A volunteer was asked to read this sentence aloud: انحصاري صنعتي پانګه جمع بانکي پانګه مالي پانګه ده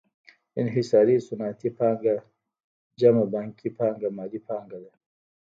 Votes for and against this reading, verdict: 1, 2, rejected